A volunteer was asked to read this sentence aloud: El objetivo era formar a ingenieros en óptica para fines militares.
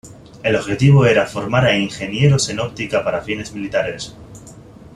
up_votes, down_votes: 2, 0